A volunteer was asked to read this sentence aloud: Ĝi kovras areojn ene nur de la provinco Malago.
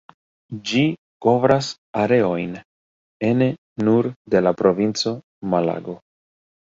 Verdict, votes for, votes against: accepted, 2, 1